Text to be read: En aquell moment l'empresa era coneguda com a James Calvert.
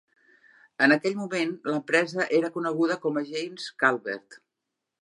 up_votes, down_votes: 5, 0